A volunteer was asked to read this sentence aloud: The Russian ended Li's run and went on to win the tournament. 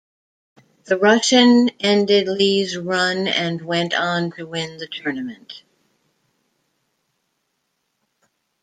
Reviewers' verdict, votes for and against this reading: accepted, 2, 0